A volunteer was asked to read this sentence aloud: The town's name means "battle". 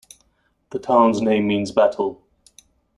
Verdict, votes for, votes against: accepted, 2, 0